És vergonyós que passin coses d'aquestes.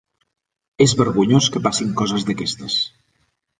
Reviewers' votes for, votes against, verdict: 3, 0, accepted